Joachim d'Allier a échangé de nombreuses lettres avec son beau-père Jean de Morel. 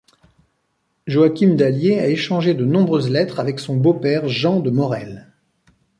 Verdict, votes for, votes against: accepted, 2, 0